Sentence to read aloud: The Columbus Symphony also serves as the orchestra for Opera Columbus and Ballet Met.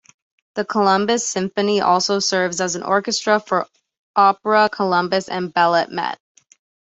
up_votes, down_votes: 2, 0